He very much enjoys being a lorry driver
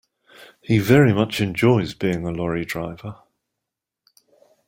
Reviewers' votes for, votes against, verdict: 2, 0, accepted